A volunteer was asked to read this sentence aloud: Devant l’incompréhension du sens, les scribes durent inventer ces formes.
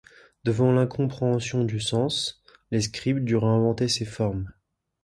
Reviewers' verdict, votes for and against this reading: rejected, 1, 2